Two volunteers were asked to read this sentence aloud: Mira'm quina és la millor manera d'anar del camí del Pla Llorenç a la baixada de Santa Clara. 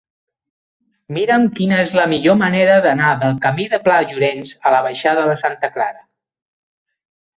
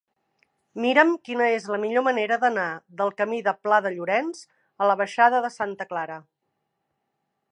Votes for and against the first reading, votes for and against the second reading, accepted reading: 2, 0, 1, 2, first